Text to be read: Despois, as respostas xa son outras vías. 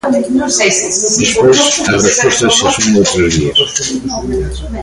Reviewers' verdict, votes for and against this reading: rejected, 0, 2